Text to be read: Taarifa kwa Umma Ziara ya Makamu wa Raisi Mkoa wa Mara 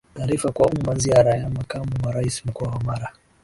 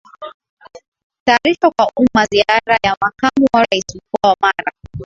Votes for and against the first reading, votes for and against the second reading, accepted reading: 8, 7, 0, 2, first